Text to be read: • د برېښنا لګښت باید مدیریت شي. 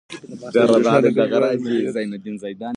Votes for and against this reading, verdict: 0, 2, rejected